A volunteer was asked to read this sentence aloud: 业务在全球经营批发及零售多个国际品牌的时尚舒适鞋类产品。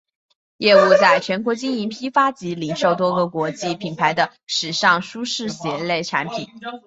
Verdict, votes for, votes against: accepted, 2, 0